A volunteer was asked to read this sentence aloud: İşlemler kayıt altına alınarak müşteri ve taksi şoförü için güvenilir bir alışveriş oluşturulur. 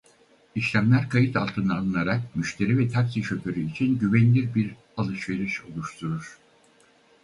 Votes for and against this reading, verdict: 2, 2, rejected